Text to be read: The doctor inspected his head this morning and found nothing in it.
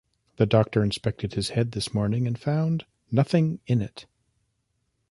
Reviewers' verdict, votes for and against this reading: accepted, 2, 0